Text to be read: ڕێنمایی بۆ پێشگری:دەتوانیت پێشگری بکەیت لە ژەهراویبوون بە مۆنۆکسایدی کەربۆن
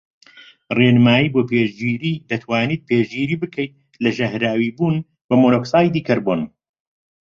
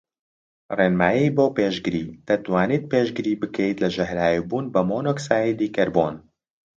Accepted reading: second